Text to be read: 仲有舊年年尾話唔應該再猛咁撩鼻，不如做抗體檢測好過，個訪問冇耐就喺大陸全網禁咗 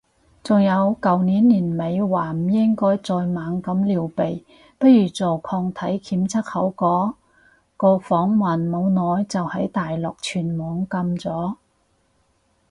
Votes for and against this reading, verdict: 2, 2, rejected